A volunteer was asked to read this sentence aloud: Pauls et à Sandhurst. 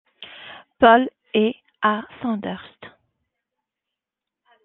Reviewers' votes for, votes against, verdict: 2, 0, accepted